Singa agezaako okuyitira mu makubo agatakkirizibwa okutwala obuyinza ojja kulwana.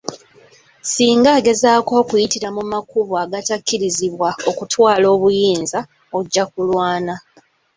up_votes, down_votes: 2, 1